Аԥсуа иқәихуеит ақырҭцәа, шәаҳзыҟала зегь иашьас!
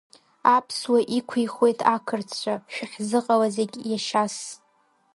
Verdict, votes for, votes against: rejected, 0, 2